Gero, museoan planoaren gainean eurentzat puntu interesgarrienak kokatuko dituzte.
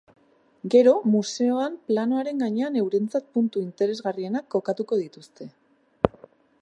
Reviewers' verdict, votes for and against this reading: accepted, 2, 0